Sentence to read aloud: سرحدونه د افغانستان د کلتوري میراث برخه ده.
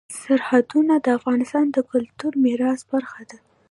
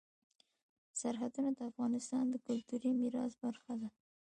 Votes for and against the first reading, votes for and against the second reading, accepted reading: 2, 0, 1, 2, first